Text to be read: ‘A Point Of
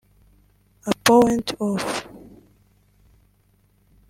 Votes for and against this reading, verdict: 0, 2, rejected